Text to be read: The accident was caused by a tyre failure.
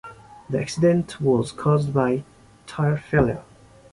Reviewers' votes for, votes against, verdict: 0, 2, rejected